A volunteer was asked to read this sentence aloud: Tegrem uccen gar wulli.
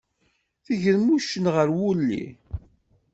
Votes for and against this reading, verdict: 2, 0, accepted